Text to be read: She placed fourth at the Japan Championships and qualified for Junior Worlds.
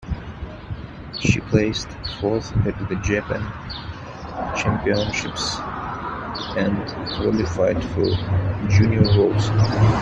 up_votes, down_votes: 2, 1